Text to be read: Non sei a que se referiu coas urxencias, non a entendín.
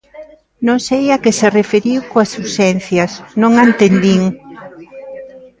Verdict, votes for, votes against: accepted, 2, 1